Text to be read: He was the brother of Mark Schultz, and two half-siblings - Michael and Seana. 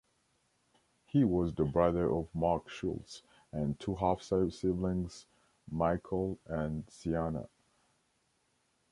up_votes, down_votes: 3, 1